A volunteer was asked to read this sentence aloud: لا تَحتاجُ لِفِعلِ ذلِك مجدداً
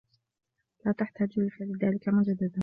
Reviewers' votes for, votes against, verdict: 2, 0, accepted